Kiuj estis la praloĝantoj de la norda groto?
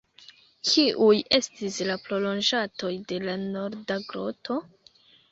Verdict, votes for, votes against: rejected, 0, 2